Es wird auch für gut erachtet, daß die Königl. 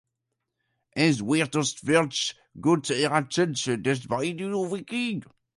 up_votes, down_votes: 0, 2